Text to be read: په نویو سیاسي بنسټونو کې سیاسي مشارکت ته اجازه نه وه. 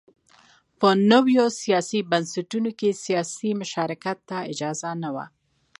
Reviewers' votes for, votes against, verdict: 2, 0, accepted